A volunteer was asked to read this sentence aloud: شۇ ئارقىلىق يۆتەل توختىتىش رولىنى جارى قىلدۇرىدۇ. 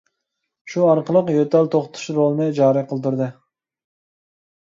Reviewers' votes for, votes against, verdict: 0, 2, rejected